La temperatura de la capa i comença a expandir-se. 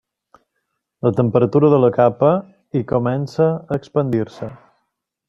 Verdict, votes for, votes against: rejected, 1, 2